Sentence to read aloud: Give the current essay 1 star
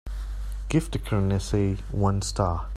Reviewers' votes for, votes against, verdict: 0, 2, rejected